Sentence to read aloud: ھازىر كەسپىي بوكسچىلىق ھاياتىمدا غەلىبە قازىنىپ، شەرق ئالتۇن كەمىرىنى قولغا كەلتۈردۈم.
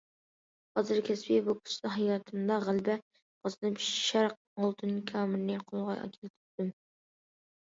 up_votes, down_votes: 0, 2